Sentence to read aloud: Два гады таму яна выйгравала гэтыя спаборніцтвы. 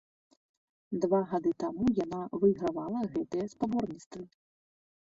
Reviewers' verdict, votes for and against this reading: accepted, 2, 0